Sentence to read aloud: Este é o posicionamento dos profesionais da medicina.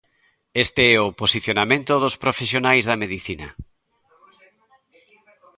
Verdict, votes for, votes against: rejected, 1, 2